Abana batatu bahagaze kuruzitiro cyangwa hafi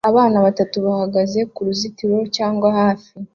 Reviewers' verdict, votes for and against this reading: accepted, 2, 1